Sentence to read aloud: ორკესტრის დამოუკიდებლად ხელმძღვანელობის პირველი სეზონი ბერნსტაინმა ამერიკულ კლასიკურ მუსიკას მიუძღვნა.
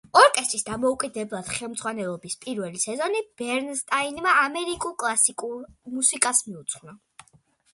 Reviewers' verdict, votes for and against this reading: accepted, 2, 0